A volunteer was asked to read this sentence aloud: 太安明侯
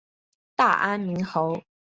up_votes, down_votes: 0, 2